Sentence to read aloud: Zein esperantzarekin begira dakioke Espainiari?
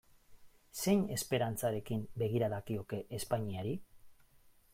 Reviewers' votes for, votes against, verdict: 2, 0, accepted